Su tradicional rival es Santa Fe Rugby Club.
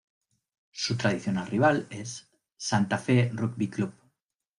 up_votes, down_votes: 1, 2